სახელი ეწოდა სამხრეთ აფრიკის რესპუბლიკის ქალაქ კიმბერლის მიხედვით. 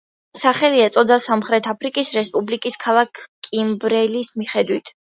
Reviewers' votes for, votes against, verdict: 0, 2, rejected